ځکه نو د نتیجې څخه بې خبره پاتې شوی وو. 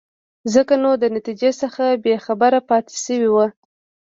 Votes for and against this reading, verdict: 0, 2, rejected